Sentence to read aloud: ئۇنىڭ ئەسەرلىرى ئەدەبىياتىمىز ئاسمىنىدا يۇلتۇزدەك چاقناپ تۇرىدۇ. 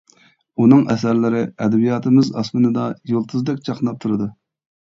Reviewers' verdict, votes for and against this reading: accepted, 2, 0